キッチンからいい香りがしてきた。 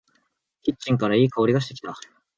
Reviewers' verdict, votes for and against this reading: accepted, 2, 0